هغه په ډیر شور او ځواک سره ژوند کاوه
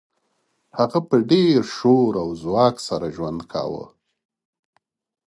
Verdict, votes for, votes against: accepted, 2, 0